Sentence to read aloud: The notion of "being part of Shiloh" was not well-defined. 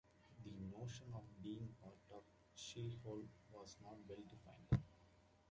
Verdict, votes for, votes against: rejected, 0, 2